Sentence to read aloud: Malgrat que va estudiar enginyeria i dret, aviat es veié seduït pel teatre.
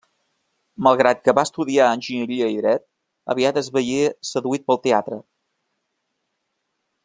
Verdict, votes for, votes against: accepted, 2, 0